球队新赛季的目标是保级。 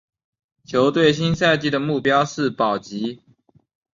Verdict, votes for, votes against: accepted, 2, 0